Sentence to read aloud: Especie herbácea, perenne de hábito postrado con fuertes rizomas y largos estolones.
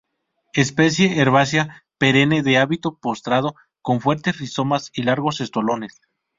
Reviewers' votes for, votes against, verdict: 2, 2, rejected